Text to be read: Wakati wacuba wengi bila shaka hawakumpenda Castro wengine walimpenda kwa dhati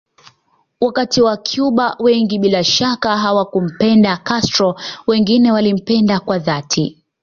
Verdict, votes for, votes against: accepted, 3, 0